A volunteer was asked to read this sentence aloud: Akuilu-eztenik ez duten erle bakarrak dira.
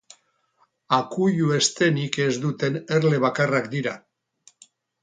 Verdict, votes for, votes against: accepted, 2, 0